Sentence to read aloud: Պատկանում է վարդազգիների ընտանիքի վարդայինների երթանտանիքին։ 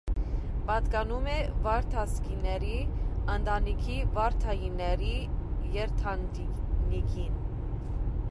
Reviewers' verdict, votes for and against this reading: rejected, 1, 2